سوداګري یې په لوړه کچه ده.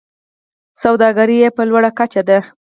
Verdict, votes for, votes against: rejected, 0, 4